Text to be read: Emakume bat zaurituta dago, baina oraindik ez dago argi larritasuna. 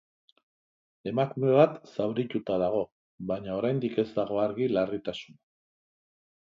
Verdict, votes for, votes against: accepted, 4, 1